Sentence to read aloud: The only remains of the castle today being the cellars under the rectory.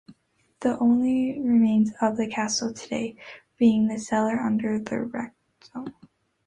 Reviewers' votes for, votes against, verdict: 0, 2, rejected